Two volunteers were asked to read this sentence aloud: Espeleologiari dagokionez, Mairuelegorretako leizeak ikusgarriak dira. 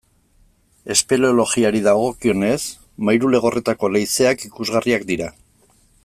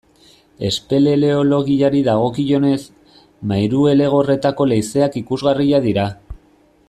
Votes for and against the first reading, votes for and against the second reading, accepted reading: 2, 0, 0, 2, first